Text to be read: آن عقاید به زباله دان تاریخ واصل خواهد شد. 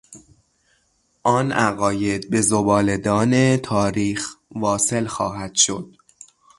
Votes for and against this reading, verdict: 6, 0, accepted